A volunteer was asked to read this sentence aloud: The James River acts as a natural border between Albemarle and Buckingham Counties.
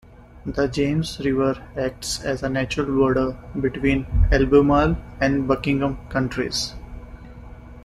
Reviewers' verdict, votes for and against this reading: rejected, 1, 2